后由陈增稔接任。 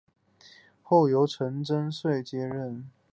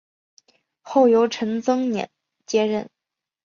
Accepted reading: second